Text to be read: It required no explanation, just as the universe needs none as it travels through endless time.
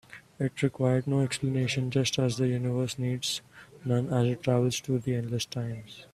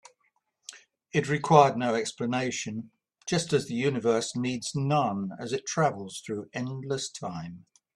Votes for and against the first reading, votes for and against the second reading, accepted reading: 0, 3, 3, 0, second